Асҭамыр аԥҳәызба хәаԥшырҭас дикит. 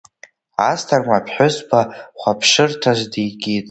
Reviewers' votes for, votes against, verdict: 2, 1, accepted